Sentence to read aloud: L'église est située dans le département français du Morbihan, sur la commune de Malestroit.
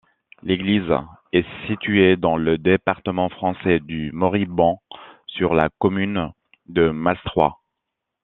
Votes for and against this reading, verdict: 1, 2, rejected